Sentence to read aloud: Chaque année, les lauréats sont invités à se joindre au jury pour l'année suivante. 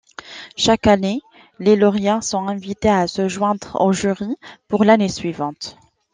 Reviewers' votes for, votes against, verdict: 2, 0, accepted